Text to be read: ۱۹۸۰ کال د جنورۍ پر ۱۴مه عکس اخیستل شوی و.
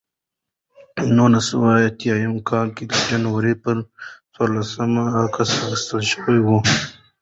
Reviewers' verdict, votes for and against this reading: rejected, 0, 2